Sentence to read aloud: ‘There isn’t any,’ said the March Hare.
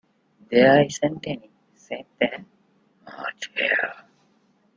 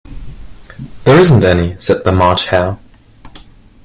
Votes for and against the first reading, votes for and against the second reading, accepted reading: 0, 2, 2, 0, second